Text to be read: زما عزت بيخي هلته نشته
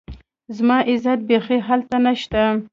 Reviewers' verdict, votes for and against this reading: accepted, 2, 0